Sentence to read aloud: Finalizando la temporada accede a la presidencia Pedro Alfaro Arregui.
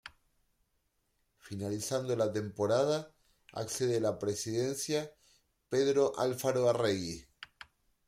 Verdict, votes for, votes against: accepted, 2, 0